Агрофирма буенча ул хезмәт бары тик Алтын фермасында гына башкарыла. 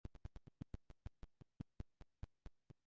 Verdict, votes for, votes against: rejected, 0, 2